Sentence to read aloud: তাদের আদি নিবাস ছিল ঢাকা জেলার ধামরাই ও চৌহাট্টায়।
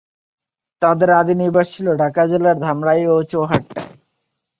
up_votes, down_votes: 4, 1